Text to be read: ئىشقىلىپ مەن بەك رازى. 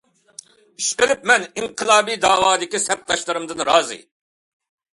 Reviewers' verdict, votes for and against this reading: rejected, 0, 2